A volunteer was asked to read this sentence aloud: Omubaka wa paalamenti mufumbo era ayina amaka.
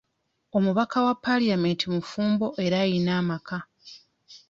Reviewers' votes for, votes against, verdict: 1, 2, rejected